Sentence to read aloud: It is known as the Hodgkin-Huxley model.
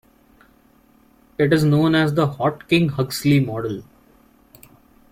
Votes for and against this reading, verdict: 2, 1, accepted